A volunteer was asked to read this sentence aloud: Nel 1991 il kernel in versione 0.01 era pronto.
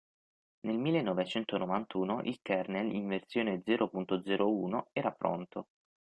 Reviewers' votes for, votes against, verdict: 0, 2, rejected